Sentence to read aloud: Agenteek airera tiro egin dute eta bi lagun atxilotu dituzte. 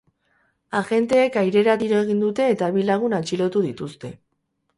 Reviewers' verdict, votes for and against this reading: rejected, 2, 2